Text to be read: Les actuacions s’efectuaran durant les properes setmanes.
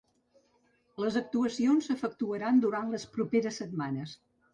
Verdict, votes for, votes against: accepted, 3, 0